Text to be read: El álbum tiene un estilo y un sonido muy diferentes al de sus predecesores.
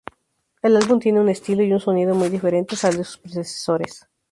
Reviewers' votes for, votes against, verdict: 0, 2, rejected